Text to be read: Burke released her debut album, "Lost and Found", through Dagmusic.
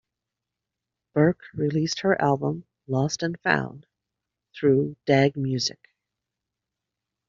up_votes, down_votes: 0, 2